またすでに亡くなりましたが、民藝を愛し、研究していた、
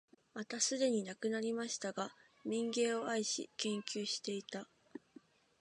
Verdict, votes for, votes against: accepted, 2, 0